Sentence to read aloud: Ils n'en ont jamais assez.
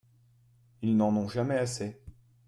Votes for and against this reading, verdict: 2, 0, accepted